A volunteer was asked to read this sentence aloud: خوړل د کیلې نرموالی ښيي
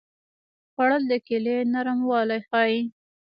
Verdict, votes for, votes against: accepted, 2, 1